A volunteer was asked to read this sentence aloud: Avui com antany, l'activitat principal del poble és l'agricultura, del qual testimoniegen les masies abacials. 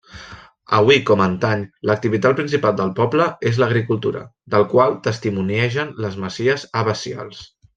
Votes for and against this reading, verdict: 2, 0, accepted